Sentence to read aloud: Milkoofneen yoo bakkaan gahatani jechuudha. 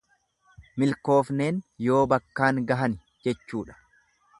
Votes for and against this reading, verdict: 0, 2, rejected